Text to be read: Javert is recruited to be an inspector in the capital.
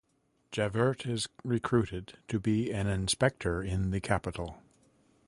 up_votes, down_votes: 2, 0